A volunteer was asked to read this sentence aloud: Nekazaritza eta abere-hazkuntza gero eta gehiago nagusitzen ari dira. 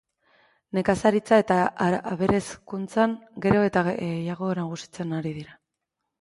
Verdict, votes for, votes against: rejected, 0, 2